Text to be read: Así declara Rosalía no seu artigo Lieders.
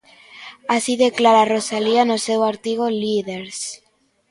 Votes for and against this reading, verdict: 0, 2, rejected